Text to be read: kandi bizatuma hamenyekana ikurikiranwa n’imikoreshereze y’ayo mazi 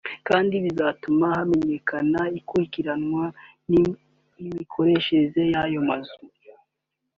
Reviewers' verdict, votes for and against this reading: rejected, 0, 2